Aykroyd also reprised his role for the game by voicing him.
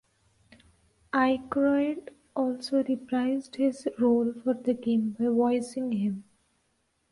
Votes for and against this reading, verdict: 2, 0, accepted